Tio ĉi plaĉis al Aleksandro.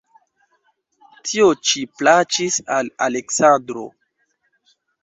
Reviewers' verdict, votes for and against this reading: rejected, 1, 2